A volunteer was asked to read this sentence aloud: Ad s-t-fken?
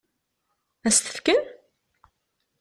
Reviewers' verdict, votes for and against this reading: accepted, 2, 0